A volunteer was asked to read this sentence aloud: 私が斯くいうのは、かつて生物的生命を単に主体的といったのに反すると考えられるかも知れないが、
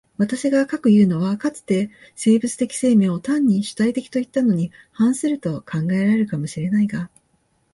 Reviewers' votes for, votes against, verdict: 2, 1, accepted